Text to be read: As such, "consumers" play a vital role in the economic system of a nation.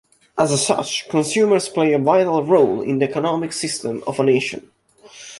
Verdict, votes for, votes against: rejected, 1, 2